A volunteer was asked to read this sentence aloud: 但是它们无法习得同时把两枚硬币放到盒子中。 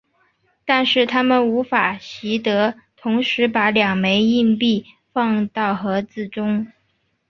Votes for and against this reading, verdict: 3, 0, accepted